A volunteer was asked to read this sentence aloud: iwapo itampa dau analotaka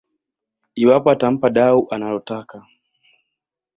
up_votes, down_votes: 2, 0